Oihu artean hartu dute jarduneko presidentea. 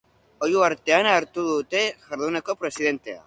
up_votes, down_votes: 4, 0